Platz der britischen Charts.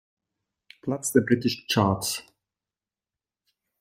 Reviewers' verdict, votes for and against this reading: accepted, 3, 0